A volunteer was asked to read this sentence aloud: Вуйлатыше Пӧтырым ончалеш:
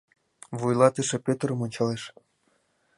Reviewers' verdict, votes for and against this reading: accepted, 2, 0